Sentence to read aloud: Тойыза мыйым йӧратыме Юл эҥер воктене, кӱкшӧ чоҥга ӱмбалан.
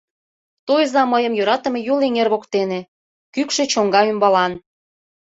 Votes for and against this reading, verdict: 2, 0, accepted